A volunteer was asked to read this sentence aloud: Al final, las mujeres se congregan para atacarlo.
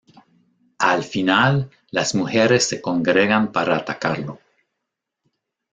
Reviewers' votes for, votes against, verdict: 2, 0, accepted